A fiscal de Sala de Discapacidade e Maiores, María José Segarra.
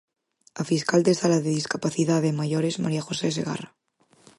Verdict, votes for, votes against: accepted, 8, 0